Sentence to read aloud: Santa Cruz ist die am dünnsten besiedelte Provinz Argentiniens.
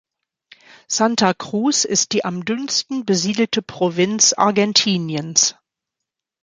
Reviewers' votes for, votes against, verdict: 3, 0, accepted